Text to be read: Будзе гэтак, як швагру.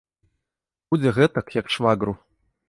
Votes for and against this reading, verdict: 0, 2, rejected